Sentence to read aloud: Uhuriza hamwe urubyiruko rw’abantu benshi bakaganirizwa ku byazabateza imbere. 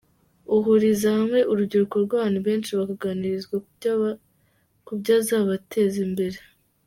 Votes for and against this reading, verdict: 0, 2, rejected